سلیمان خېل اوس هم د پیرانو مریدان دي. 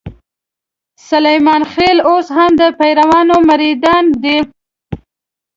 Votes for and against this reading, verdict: 0, 2, rejected